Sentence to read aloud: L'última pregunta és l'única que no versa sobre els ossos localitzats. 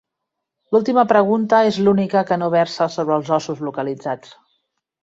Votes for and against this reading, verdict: 3, 0, accepted